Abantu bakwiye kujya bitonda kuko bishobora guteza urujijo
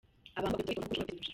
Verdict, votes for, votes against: rejected, 0, 2